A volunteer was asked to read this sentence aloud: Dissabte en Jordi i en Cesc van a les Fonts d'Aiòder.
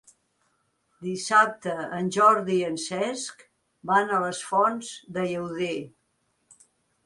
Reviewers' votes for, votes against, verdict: 1, 2, rejected